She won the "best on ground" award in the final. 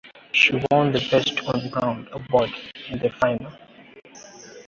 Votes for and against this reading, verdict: 2, 1, accepted